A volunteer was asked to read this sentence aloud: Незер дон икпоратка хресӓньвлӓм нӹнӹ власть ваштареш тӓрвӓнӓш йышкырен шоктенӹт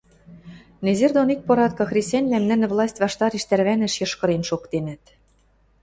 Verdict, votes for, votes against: accepted, 2, 0